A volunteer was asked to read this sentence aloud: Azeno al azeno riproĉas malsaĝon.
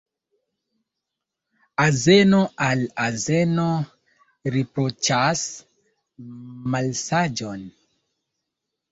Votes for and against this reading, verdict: 1, 2, rejected